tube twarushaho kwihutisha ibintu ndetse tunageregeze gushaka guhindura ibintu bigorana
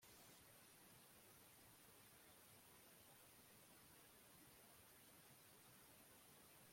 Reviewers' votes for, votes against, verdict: 1, 2, rejected